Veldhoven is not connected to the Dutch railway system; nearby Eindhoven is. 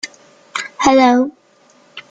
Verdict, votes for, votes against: rejected, 0, 2